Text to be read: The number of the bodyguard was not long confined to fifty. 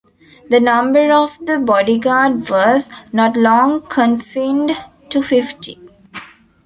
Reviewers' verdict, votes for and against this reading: rejected, 1, 2